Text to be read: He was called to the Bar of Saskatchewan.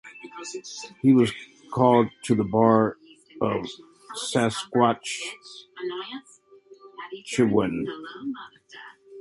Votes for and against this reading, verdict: 0, 2, rejected